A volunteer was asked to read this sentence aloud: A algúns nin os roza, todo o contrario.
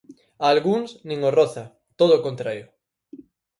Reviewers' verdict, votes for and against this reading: accepted, 4, 0